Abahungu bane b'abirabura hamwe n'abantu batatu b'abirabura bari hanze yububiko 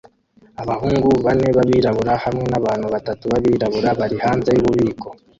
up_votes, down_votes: 2, 1